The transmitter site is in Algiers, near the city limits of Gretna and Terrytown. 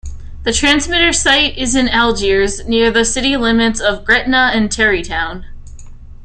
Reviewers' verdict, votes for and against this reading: accepted, 2, 0